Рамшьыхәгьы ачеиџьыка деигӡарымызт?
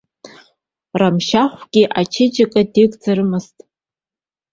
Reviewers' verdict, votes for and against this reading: accepted, 2, 0